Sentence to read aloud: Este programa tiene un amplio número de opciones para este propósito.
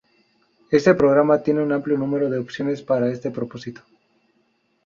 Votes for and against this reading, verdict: 0, 2, rejected